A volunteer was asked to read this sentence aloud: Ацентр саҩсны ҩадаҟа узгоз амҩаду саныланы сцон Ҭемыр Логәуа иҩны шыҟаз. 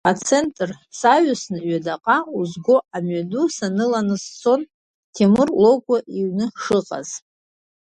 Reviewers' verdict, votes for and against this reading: accepted, 2, 0